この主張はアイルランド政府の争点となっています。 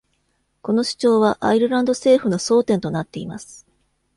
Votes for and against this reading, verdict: 2, 0, accepted